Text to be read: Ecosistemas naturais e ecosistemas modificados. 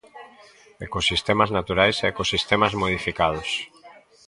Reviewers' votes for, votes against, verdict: 2, 0, accepted